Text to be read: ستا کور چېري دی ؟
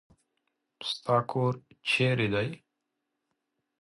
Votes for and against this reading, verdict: 2, 0, accepted